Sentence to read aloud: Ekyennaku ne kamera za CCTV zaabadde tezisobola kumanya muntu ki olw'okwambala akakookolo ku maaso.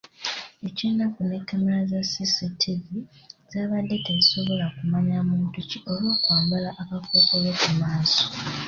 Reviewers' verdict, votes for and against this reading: accepted, 3, 0